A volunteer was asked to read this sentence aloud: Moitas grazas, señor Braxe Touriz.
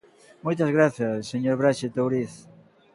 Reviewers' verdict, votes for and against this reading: accepted, 2, 0